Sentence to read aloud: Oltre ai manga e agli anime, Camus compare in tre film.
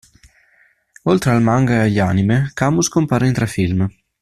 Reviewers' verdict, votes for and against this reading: rejected, 1, 2